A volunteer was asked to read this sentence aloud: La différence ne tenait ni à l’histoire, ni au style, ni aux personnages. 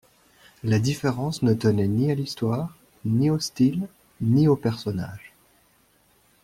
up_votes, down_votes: 2, 0